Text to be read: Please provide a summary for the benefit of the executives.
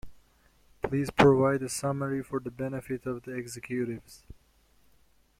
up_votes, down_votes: 2, 0